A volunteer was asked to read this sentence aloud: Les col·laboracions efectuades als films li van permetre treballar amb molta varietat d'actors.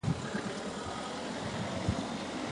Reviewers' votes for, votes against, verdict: 0, 2, rejected